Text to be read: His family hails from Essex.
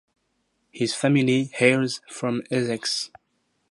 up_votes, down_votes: 2, 2